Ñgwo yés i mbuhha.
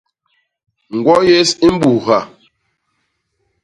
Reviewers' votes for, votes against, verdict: 0, 2, rejected